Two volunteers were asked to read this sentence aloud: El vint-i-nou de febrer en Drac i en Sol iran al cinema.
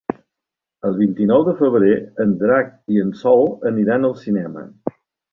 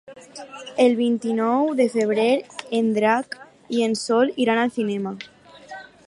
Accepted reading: second